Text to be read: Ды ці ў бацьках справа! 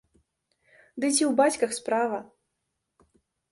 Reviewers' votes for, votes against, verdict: 1, 2, rejected